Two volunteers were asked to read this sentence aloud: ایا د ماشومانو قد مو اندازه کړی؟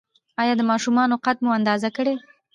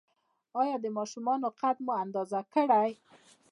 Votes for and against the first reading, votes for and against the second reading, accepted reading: 1, 2, 2, 0, second